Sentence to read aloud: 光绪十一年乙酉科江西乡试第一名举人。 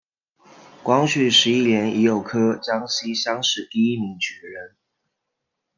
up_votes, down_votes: 2, 0